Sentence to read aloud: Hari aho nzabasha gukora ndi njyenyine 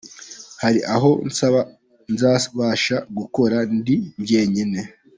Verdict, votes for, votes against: accepted, 3, 1